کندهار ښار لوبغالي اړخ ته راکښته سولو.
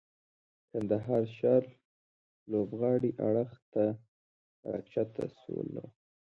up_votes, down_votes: 1, 2